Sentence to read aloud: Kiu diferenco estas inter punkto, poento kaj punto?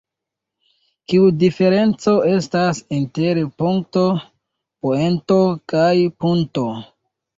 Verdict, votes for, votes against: rejected, 0, 2